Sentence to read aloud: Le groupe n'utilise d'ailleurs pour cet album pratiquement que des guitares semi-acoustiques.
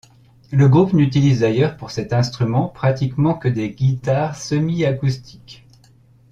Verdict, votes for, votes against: rejected, 0, 2